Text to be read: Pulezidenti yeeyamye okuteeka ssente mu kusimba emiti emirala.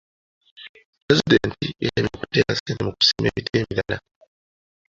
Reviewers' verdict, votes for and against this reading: rejected, 1, 2